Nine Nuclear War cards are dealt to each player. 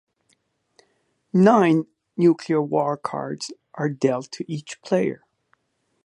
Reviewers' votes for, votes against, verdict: 3, 0, accepted